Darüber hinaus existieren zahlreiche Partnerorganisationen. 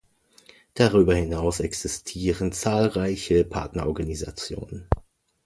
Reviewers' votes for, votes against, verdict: 2, 0, accepted